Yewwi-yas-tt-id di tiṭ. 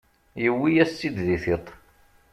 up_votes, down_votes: 2, 0